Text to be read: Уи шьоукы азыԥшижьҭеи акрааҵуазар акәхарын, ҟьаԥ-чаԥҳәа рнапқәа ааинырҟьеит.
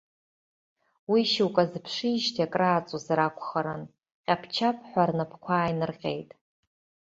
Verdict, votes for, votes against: accepted, 2, 0